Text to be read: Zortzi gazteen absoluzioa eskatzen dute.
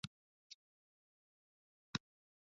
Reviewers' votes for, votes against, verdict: 0, 2, rejected